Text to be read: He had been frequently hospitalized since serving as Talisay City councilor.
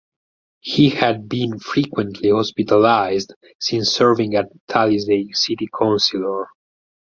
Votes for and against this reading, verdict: 0, 4, rejected